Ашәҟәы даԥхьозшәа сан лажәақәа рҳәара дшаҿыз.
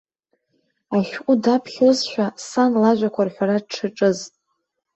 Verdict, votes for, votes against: accepted, 2, 0